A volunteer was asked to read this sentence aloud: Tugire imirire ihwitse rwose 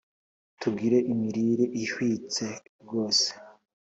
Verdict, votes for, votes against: accepted, 2, 0